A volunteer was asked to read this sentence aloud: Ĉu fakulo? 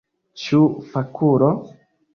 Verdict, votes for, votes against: accepted, 2, 1